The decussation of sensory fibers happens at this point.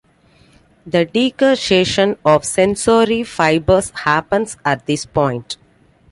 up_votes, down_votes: 2, 1